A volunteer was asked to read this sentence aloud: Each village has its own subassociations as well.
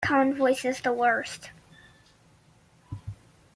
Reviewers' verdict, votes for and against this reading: rejected, 0, 2